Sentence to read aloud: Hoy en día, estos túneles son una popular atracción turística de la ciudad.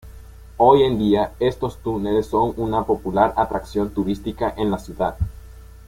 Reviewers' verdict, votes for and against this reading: accepted, 2, 0